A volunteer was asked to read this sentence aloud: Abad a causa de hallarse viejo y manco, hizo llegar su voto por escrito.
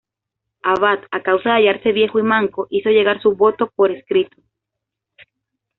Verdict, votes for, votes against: accepted, 2, 0